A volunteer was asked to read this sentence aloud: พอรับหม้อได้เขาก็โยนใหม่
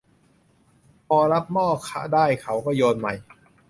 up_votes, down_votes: 0, 2